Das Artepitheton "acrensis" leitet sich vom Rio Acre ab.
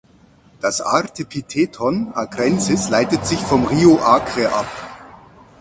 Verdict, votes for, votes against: rejected, 2, 4